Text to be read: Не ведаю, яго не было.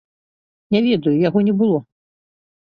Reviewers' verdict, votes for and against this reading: accepted, 2, 0